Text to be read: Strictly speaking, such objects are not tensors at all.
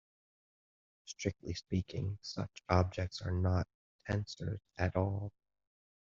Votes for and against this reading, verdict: 2, 0, accepted